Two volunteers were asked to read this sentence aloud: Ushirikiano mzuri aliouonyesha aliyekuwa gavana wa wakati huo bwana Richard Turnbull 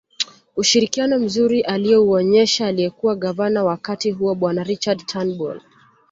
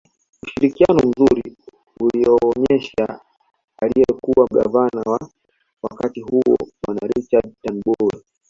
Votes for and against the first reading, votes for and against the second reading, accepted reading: 2, 0, 1, 2, first